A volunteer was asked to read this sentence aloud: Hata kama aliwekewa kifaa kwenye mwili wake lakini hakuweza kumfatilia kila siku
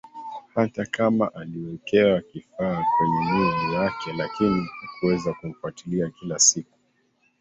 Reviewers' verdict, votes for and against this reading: rejected, 1, 3